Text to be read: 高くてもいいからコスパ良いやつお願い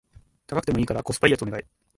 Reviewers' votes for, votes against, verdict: 2, 0, accepted